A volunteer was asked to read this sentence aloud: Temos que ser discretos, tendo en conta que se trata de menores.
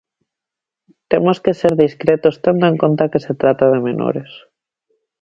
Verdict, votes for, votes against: accepted, 2, 0